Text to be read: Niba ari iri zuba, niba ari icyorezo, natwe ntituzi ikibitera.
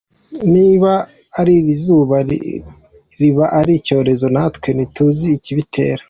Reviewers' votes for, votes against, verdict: 2, 0, accepted